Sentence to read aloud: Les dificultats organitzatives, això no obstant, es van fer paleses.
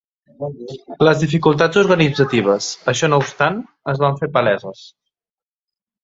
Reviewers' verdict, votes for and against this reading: accepted, 2, 0